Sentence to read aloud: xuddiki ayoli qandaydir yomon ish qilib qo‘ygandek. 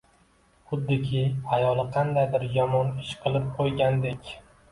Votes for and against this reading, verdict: 2, 0, accepted